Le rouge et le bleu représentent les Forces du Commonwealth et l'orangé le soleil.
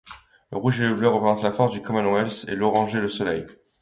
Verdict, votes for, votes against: rejected, 0, 2